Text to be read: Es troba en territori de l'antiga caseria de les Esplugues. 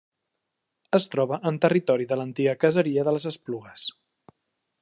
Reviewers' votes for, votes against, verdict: 3, 0, accepted